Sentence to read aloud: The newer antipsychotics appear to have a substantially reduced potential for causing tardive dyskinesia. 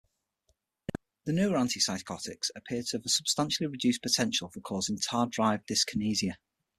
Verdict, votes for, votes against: rejected, 0, 6